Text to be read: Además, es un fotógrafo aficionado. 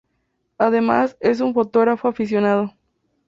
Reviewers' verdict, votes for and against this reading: accepted, 2, 0